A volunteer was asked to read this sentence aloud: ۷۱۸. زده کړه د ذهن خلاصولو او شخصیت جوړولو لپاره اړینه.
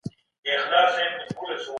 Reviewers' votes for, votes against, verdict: 0, 2, rejected